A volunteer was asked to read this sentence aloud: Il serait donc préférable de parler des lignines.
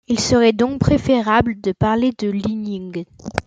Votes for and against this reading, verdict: 0, 2, rejected